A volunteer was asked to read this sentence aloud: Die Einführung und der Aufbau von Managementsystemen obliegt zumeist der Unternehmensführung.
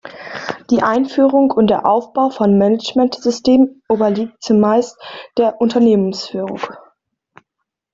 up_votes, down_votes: 1, 2